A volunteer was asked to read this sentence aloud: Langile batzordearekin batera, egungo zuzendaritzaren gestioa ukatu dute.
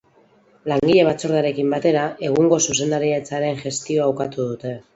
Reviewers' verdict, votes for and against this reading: rejected, 2, 2